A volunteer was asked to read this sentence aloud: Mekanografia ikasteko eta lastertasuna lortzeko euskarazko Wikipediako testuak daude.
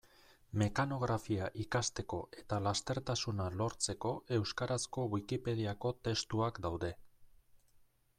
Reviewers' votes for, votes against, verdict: 2, 0, accepted